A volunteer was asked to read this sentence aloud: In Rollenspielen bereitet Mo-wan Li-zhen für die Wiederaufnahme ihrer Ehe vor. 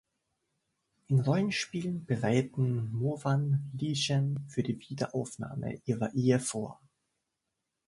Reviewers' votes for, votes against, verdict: 0, 2, rejected